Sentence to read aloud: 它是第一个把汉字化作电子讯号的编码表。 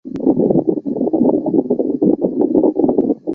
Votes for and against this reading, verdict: 0, 3, rejected